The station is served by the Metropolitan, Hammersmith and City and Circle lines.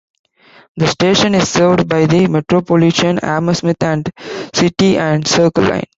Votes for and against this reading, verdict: 0, 2, rejected